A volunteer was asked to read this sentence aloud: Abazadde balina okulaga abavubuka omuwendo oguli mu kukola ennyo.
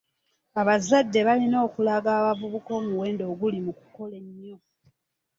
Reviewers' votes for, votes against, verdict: 1, 2, rejected